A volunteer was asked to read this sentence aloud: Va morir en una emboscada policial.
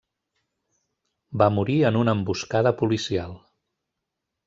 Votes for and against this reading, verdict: 3, 0, accepted